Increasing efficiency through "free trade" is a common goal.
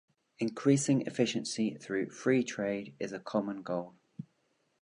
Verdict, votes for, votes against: accepted, 2, 0